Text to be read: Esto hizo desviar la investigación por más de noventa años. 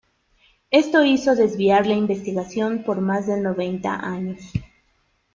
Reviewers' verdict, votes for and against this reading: accepted, 2, 0